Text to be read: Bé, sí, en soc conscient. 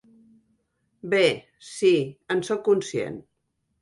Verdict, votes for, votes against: accepted, 3, 0